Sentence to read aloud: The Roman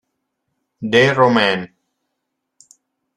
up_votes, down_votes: 0, 2